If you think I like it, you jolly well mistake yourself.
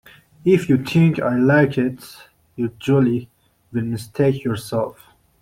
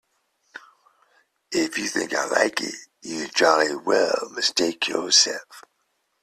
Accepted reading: second